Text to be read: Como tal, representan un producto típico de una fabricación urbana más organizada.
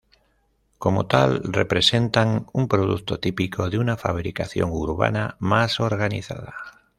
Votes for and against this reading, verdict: 2, 0, accepted